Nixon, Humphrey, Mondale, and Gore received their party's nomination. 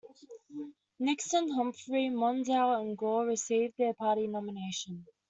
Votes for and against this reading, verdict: 1, 2, rejected